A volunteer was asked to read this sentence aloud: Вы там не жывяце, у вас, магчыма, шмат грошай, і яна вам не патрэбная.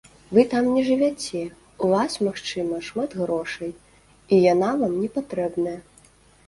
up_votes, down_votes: 2, 0